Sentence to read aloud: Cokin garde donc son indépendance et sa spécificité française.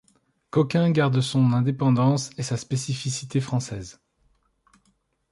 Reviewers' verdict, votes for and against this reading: rejected, 1, 2